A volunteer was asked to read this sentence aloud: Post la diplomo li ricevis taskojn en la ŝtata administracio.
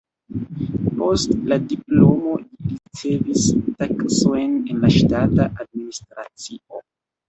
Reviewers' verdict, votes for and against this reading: rejected, 0, 2